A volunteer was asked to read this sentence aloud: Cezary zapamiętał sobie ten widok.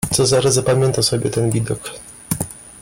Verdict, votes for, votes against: rejected, 0, 2